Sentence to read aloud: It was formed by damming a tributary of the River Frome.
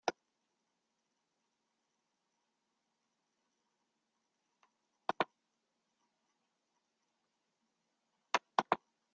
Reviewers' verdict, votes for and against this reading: rejected, 0, 2